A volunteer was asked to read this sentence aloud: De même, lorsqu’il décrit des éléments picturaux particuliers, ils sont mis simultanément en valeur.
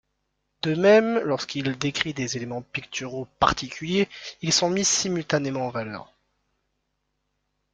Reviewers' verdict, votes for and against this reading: accepted, 2, 0